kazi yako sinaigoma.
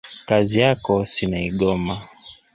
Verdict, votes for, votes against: rejected, 0, 2